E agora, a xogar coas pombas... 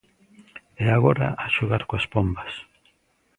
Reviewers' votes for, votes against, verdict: 2, 0, accepted